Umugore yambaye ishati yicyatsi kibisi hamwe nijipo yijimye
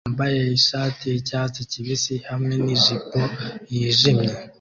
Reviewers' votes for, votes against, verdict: 1, 2, rejected